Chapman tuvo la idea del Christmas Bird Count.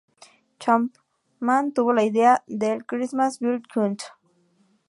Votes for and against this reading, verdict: 0, 2, rejected